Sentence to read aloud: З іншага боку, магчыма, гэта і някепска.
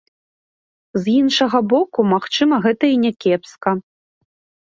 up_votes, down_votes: 3, 0